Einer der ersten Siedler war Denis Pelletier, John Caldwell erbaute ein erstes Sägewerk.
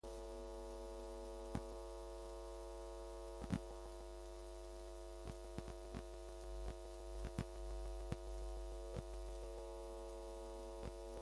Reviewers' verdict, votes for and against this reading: rejected, 0, 2